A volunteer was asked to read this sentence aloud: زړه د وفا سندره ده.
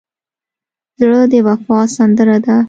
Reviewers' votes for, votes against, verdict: 3, 0, accepted